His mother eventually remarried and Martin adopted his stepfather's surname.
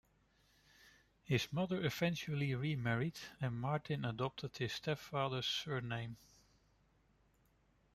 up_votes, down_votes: 2, 0